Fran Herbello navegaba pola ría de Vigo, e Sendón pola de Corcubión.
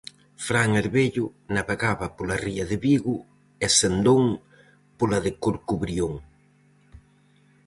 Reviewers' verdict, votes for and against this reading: rejected, 0, 4